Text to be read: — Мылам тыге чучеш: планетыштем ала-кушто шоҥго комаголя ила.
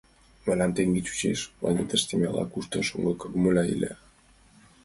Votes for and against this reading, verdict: 2, 1, accepted